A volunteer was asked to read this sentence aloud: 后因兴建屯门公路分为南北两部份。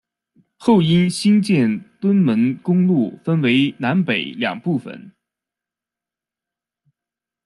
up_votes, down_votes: 1, 2